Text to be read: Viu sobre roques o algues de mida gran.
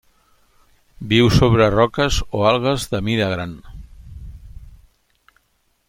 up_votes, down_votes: 3, 0